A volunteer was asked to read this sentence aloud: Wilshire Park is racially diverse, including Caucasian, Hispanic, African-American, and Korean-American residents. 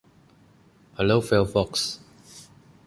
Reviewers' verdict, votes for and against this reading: rejected, 0, 2